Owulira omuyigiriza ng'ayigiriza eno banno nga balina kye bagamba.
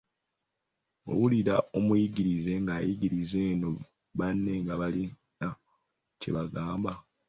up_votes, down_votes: 0, 2